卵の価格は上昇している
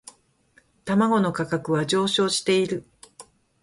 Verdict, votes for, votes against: rejected, 2, 2